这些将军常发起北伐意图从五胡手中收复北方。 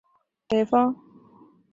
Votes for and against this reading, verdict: 0, 4, rejected